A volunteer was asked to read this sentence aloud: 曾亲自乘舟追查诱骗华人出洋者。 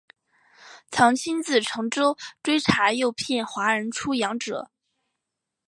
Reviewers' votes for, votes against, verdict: 2, 0, accepted